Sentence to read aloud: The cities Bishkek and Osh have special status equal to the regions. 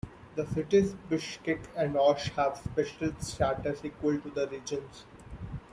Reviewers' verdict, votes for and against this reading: accepted, 2, 1